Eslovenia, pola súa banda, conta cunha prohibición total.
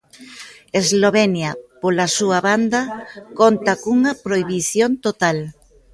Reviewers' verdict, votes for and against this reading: accepted, 2, 0